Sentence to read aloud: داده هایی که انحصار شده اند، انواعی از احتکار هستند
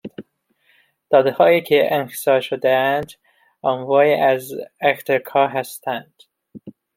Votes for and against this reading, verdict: 1, 2, rejected